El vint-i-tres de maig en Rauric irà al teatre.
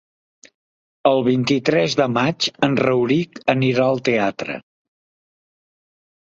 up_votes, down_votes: 0, 3